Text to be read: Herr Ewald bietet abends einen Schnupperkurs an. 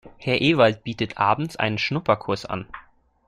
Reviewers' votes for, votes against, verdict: 2, 0, accepted